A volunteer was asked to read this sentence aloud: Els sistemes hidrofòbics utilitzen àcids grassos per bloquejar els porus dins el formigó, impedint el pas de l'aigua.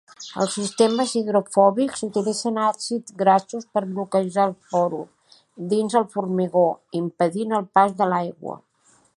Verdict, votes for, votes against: accepted, 2, 1